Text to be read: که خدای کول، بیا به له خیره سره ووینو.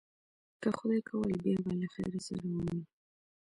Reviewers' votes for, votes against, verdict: 0, 2, rejected